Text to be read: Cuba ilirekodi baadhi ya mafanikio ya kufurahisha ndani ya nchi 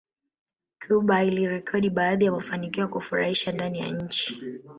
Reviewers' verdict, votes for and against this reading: rejected, 0, 2